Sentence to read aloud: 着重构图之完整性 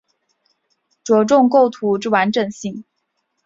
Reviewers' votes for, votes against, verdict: 4, 0, accepted